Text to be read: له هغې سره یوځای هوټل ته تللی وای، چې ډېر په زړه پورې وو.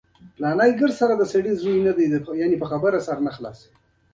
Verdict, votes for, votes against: accepted, 2, 0